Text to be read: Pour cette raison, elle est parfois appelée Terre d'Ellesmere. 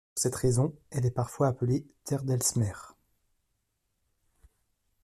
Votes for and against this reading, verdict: 0, 2, rejected